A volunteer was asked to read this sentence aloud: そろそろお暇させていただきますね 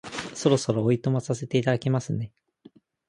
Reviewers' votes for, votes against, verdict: 4, 0, accepted